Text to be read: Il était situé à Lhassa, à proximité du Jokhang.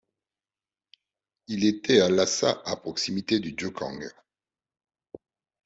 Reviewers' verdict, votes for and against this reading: rejected, 0, 2